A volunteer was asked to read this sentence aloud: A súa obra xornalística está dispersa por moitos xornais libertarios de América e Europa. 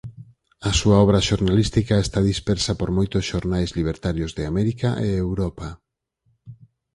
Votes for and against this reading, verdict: 4, 0, accepted